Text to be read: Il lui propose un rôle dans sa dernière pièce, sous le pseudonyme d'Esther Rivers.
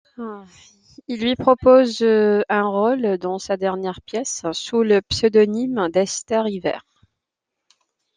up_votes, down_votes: 2, 0